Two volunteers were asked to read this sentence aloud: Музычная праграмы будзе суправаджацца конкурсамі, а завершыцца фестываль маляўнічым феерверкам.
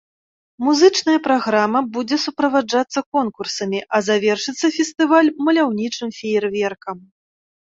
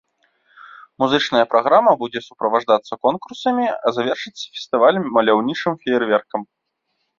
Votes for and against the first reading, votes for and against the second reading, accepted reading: 2, 0, 1, 2, first